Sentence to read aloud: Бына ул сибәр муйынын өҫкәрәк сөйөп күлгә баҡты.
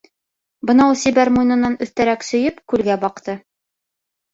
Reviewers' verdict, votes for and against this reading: rejected, 1, 2